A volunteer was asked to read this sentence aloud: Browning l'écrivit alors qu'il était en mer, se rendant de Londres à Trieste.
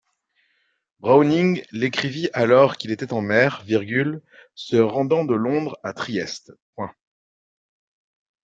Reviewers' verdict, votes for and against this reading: rejected, 0, 2